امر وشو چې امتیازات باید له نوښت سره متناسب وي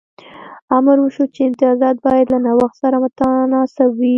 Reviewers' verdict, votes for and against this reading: accepted, 2, 0